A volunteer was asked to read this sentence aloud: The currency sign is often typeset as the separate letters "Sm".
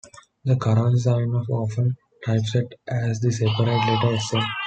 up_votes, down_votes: 1, 2